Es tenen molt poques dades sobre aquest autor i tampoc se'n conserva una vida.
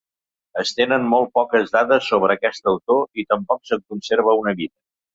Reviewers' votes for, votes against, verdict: 2, 3, rejected